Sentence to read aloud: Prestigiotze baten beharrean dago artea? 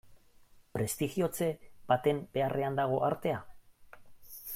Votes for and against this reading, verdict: 2, 1, accepted